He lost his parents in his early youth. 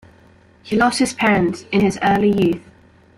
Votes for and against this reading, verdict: 2, 1, accepted